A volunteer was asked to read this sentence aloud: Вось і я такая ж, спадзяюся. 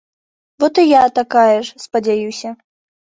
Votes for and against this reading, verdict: 0, 2, rejected